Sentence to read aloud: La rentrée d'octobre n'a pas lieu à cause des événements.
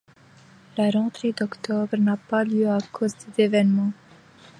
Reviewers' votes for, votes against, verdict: 2, 1, accepted